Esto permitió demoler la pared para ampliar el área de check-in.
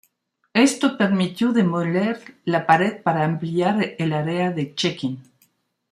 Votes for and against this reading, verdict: 1, 2, rejected